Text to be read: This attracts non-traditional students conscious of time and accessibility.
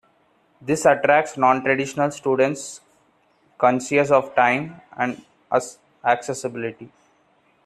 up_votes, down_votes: 2, 1